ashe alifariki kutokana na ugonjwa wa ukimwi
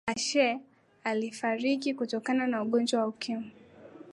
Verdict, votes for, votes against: accepted, 2, 0